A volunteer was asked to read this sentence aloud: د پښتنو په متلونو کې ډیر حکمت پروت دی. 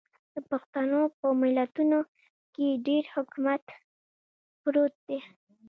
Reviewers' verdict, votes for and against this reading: rejected, 1, 2